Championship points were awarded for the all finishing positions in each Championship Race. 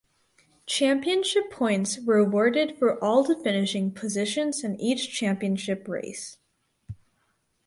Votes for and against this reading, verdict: 2, 2, rejected